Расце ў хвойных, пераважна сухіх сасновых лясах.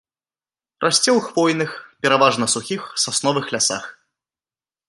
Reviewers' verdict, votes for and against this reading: accepted, 3, 1